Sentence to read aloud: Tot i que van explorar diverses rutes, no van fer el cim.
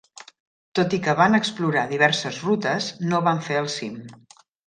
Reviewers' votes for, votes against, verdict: 3, 0, accepted